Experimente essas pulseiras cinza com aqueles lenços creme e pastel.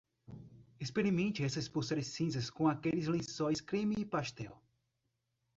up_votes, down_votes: 0, 2